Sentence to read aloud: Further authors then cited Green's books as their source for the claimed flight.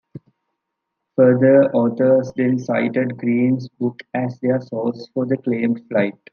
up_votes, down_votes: 0, 2